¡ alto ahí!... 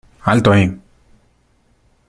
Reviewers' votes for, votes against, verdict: 2, 0, accepted